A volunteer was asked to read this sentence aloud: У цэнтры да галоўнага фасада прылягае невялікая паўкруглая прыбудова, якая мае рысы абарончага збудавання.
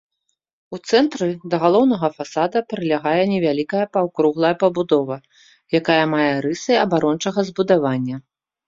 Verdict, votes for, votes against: rejected, 1, 2